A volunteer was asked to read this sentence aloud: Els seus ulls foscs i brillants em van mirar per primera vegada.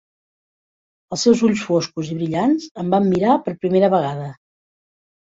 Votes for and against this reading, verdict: 0, 2, rejected